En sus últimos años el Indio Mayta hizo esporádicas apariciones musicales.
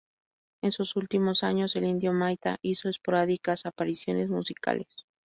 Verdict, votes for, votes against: accepted, 2, 0